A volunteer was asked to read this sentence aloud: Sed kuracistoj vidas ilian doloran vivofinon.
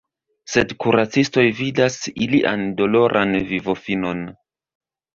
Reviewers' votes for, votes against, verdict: 2, 0, accepted